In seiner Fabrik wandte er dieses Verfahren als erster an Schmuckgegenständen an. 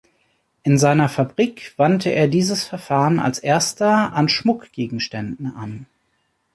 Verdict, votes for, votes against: accepted, 2, 0